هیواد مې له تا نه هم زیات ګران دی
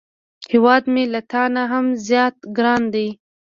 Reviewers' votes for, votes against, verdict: 2, 0, accepted